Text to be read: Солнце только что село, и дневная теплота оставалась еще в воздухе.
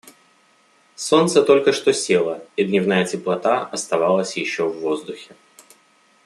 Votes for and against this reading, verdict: 2, 0, accepted